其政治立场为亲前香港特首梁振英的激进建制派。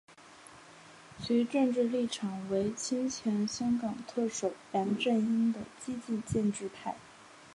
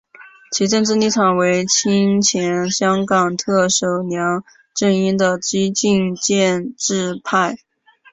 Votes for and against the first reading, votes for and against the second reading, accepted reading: 2, 2, 2, 1, second